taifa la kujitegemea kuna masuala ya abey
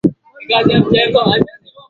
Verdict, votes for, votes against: rejected, 0, 2